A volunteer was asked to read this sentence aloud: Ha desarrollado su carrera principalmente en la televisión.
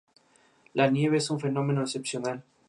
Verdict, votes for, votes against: rejected, 0, 2